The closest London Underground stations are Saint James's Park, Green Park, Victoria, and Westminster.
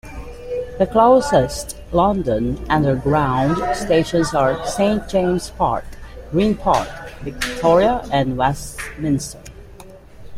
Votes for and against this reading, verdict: 0, 2, rejected